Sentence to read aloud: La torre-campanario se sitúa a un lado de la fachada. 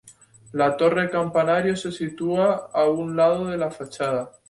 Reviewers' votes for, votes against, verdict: 4, 2, accepted